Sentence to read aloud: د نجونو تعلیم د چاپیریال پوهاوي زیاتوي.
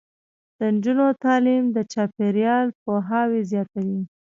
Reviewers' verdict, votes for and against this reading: rejected, 1, 2